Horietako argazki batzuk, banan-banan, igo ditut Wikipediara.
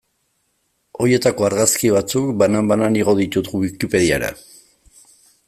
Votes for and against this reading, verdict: 1, 2, rejected